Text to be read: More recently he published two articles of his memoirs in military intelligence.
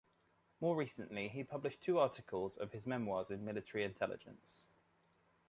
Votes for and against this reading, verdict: 2, 0, accepted